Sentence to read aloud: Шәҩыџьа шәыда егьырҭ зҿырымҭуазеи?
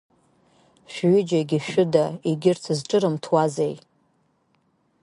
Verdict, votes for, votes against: rejected, 1, 2